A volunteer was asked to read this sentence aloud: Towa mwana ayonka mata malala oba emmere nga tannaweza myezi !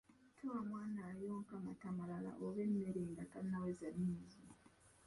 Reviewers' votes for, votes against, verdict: 1, 2, rejected